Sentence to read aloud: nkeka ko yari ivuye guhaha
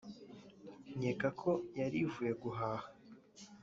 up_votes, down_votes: 2, 1